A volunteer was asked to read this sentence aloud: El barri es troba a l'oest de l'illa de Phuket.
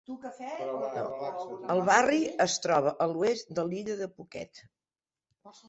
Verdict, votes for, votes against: rejected, 0, 2